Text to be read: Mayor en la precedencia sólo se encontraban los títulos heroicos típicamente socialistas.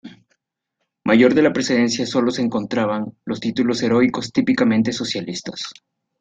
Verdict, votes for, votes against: rejected, 1, 2